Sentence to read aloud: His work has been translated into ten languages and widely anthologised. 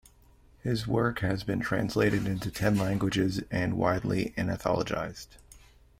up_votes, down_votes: 1, 2